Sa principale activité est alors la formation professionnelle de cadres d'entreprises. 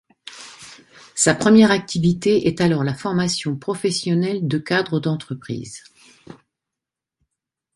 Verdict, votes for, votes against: rejected, 1, 2